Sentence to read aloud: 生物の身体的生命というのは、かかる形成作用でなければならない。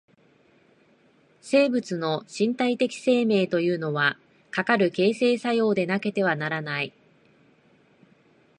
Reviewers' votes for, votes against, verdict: 4, 5, rejected